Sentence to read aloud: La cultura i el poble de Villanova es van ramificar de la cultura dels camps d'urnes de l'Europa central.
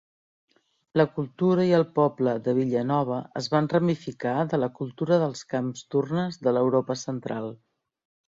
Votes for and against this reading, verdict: 2, 0, accepted